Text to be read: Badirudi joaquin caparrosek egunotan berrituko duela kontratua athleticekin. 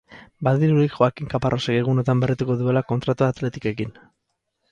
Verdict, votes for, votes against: rejected, 2, 4